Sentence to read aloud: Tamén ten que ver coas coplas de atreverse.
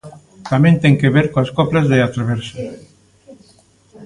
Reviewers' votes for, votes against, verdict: 0, 2, rejected